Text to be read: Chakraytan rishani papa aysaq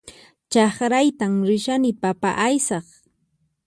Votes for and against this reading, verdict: 4, 0, accepted